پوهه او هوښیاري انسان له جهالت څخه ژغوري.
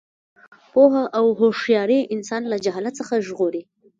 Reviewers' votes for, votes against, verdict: 1, 2, rejected